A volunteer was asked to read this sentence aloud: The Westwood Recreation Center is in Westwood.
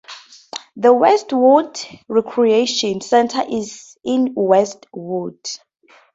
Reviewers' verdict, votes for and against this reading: accepted, 2, 0